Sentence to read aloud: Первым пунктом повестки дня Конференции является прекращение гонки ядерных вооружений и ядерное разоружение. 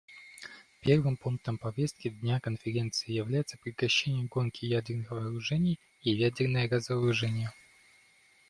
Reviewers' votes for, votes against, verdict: 2, 1, accepted